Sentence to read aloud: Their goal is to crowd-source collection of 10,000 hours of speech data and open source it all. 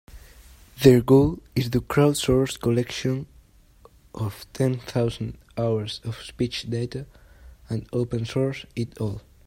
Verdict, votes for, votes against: rejected, 0, 2